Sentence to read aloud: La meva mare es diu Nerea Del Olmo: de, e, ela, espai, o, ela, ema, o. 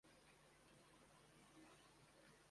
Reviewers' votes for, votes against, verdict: 0, 2, rejected